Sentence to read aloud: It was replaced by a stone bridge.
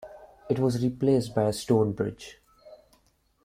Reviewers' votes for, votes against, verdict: 2, 0, accepted